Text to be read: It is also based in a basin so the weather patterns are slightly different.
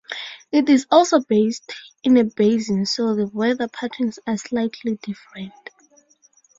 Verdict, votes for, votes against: accepted, 4, 0